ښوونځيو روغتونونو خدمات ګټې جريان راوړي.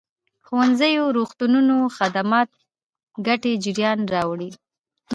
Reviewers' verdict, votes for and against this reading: rejected, 1, 2